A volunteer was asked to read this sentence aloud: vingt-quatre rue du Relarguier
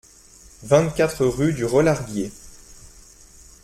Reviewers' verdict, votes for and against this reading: accepted, 2, 0